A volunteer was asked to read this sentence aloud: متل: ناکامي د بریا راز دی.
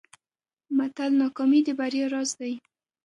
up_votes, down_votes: 2, 0